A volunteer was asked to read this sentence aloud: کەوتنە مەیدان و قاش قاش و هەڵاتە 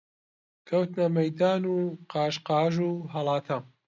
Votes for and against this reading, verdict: 2, 0, accepted